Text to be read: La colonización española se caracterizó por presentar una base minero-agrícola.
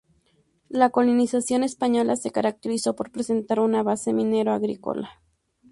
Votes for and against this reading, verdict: 0, 2, rejected